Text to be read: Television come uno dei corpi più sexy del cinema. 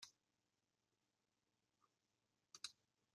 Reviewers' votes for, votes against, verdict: 0, 2, rejected